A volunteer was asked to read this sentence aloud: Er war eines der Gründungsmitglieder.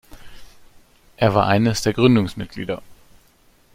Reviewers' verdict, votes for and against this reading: accepted, 2, 0